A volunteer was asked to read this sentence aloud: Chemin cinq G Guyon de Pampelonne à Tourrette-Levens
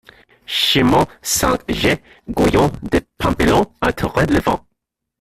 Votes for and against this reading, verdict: 0, 2, rejected